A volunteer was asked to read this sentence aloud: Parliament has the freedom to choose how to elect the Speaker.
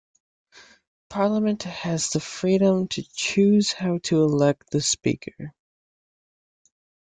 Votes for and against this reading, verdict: 2, 0, accepted